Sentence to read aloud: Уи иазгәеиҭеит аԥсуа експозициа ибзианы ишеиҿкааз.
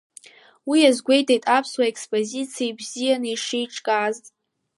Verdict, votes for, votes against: rejected, 1, 2